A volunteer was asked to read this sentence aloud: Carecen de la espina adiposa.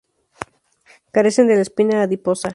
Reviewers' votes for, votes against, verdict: 2, 0, accepted